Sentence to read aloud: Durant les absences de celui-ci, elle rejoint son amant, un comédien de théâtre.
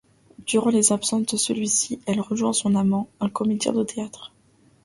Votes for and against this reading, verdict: 1, 2, rejected